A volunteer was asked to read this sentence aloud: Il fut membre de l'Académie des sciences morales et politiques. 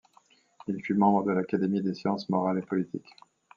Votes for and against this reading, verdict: 2, 0, accepted